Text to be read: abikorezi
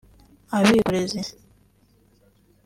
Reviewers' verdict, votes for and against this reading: rejected, 1, 2